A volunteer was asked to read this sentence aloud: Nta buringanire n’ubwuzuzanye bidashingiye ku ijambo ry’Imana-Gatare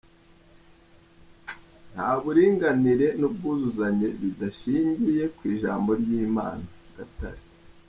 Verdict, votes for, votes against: rejected, 1, 2